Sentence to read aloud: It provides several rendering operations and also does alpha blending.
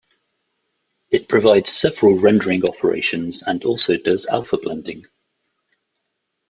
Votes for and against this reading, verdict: 2, 0, accepted